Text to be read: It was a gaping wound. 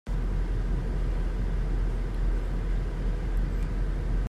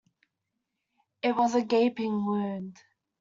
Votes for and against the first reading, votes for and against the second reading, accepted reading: 0, 2, 2, 0, second